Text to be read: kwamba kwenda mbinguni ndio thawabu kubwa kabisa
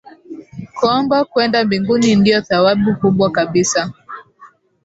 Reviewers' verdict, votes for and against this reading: accepted, 5, 0